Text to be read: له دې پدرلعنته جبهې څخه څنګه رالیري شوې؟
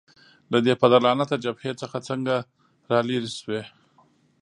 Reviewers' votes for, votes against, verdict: 2, 0, accepted